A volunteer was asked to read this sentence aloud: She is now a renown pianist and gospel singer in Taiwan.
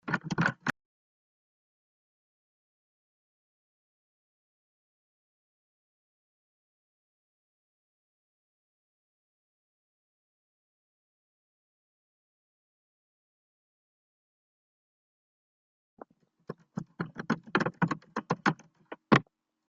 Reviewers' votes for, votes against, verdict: 0, 2, rejected